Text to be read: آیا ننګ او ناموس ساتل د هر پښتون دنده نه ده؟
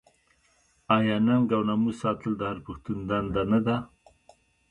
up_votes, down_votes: 1, 2